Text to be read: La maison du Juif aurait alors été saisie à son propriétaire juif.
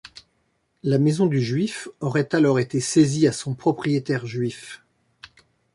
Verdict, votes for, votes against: accepted, 2, 0